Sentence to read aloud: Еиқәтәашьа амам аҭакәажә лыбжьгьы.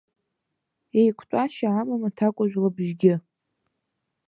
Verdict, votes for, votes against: accepted, 2, 0